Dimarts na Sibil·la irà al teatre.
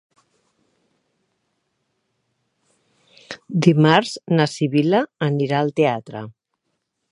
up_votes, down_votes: 1, 2